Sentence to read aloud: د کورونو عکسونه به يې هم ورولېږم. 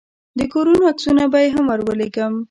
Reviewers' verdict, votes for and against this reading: rejected, 1, 2